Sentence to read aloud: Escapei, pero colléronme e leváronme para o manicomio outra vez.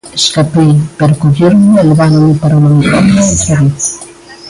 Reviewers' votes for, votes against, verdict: 0, 2, rejected